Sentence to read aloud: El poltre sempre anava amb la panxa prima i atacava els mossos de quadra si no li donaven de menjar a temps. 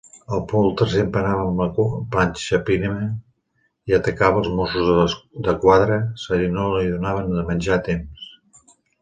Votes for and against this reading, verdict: 0, 2, rejected